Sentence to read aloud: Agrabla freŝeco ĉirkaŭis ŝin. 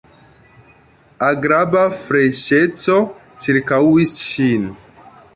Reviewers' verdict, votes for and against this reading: rejected, 1, 2